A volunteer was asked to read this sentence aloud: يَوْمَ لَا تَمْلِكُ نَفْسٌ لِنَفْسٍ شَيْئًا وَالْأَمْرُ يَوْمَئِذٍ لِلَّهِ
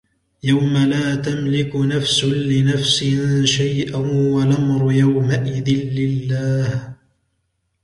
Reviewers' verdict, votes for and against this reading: accepted, 2, 0